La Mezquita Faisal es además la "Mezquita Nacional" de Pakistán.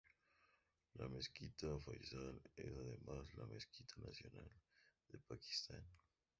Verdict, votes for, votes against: rejected, 0, 4